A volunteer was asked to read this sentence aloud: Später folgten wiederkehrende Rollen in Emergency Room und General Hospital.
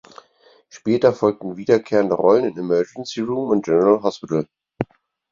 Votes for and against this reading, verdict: 4, 0, accepted